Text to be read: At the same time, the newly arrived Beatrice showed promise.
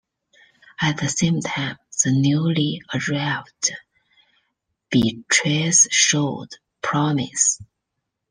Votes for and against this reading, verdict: 1, 2, rejected